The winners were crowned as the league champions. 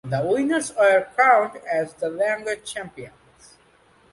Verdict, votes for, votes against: rejected, 1, 2